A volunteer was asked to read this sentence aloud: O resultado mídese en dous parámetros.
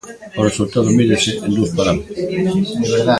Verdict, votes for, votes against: rejected, 0, 2